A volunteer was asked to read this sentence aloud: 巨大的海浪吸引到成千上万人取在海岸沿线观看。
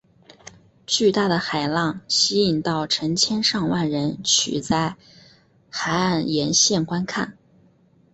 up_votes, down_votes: 3, 1